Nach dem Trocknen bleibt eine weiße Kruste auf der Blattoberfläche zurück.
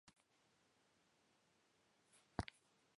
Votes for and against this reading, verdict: 0, 2, rejected